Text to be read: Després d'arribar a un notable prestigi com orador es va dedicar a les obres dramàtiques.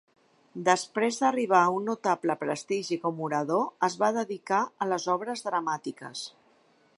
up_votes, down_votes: 2, 0